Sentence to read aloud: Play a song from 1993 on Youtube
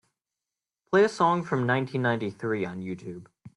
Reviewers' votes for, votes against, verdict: 0, 2, rejected